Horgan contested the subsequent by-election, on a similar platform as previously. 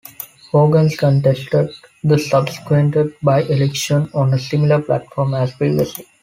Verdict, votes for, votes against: rejected, 1, 2